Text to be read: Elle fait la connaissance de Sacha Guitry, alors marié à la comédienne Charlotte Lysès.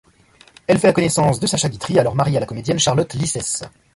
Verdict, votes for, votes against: accepted, 2, 0